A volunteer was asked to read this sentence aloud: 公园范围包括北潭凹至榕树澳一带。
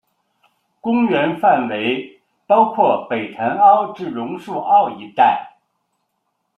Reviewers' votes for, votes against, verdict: 2, 0, accepted